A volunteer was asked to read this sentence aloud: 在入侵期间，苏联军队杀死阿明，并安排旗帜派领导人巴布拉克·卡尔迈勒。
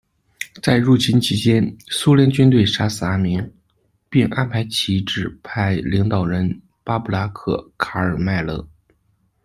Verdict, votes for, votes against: accepted, 2, 0